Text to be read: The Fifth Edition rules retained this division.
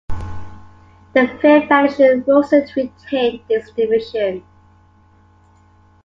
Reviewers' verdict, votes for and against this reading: rejected, 0, 2